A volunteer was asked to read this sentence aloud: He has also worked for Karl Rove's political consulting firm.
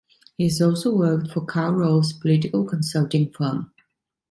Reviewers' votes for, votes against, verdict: 2, 0, accepted